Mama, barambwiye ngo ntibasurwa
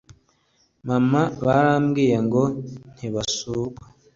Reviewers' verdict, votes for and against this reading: accepted, 2, 0